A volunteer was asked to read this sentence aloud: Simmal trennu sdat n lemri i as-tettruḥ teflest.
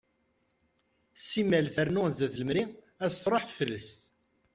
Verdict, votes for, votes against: rejected, 0, 2